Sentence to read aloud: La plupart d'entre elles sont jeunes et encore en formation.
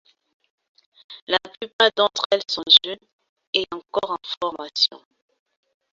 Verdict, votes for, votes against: accepted, 2, 0